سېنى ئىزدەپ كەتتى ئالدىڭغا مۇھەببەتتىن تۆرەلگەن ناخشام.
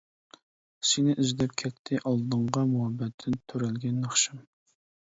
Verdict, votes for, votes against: accepted, 2, 0